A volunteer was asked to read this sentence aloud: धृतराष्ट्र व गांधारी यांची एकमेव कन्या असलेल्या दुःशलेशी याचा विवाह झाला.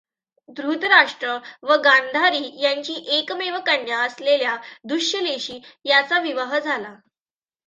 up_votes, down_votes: 2, 0